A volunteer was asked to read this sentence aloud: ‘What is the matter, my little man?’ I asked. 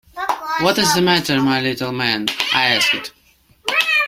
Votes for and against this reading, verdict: 1, 2, rejected